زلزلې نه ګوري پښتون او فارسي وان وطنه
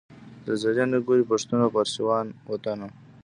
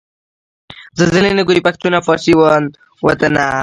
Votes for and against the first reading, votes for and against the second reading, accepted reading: 0, 2, 3, 0, second